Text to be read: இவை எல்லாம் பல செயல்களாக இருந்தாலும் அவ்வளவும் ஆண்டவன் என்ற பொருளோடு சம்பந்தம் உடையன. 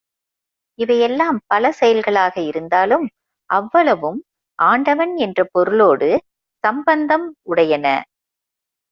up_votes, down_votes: 2, 0